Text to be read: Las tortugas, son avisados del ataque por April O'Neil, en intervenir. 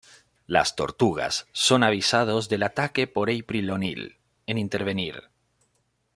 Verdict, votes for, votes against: accepted, 2, 0